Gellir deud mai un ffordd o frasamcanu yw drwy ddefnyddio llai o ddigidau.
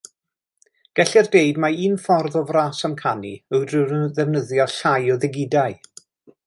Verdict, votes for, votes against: rejected, 1, 2